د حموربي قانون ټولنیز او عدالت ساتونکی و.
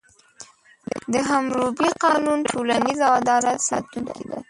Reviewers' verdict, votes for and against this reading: rejected, 1, 2